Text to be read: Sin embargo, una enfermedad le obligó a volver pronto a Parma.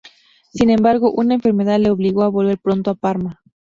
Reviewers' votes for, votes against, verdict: 2, 0, accepted